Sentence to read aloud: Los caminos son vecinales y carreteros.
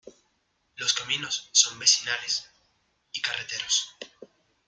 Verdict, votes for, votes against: accepted, 2, 0